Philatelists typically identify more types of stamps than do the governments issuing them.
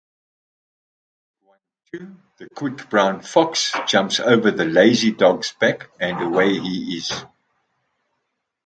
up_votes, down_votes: 0, 2